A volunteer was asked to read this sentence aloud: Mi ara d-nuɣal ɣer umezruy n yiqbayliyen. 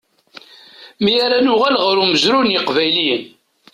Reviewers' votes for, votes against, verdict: 0, 2, rejected